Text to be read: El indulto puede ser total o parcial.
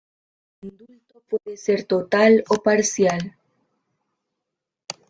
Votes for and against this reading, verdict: 1, 2, rejected